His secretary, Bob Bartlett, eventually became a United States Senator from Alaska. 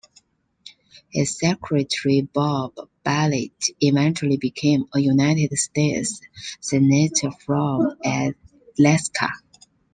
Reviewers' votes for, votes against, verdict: 1, 2, rejected